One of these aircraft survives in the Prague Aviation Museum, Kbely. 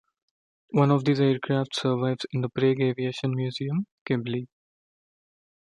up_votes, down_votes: 1, 2